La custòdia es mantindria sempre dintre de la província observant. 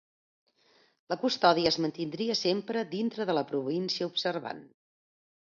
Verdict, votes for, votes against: accepted, 2, 0